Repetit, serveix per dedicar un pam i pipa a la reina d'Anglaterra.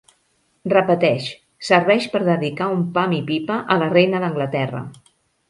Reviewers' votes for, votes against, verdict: 0, 2, rejected